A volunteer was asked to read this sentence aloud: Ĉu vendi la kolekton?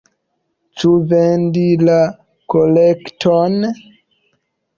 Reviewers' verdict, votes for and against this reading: rejected, 1, 2